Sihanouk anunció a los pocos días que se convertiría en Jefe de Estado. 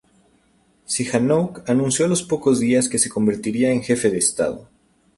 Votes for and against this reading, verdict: 2, 0, accepted